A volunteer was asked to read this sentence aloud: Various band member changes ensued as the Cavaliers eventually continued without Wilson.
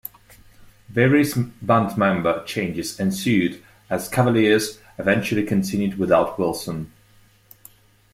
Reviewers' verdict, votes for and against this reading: rejected, 1, 2